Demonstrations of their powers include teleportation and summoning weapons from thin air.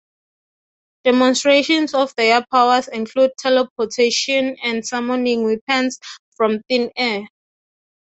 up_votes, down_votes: 6, 0